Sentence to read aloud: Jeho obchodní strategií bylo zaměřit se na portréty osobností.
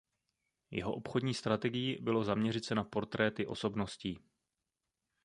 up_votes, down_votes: 2, 0